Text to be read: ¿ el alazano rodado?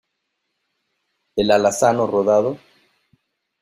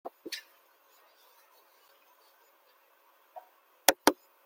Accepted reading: first